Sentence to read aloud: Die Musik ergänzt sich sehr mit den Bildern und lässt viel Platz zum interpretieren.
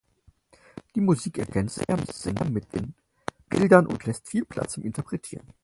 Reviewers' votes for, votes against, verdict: 2, 4, rejected